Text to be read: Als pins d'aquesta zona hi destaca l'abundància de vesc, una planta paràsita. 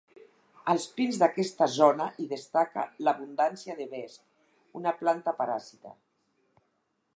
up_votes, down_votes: 4, 0